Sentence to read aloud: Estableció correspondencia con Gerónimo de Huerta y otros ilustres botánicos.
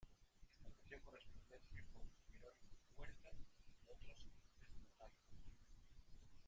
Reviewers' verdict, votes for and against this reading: rejected, 0, 2